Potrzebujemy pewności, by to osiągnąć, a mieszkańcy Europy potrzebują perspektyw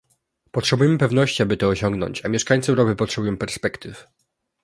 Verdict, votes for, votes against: rejected, 1, 2